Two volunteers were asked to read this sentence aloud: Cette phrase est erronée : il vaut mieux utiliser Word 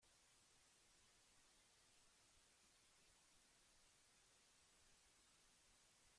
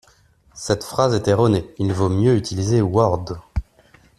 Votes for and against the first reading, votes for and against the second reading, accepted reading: 0, 2, 2, 0, second